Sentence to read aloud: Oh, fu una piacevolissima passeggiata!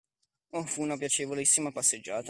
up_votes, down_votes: 2, 1